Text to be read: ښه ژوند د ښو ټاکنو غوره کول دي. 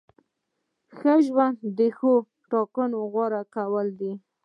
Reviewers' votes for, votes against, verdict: 2, 0, accepted